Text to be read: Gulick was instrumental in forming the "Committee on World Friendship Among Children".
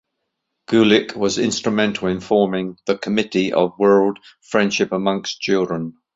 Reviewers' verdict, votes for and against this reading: accepted, 2, 1